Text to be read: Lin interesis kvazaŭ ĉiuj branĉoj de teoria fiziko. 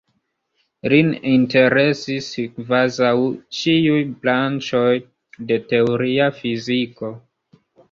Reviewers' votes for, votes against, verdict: 2, 1, accepted